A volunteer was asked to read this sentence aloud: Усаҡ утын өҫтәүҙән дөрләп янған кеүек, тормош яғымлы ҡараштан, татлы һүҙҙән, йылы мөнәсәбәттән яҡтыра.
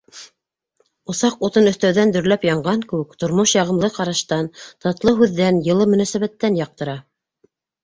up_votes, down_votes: 2, 0